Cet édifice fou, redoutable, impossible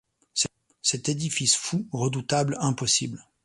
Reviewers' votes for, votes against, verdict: 1, 2, rejected